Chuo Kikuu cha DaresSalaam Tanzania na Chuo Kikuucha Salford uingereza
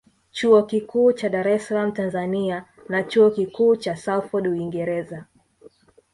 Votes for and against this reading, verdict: 1, 2, rejected